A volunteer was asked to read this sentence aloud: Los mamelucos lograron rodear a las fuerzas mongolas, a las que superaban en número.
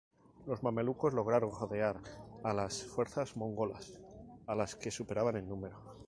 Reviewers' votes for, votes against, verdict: 2, 0, accepted